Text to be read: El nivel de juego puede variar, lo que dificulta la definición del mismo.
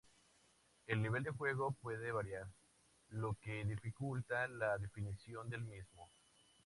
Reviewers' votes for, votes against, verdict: 2, 0, accepted